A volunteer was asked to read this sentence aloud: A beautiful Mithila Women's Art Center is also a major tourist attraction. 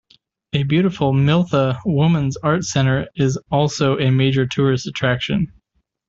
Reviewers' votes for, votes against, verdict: 2, 1, accepted